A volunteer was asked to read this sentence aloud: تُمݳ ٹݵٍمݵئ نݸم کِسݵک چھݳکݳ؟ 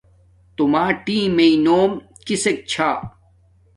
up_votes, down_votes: 1, 2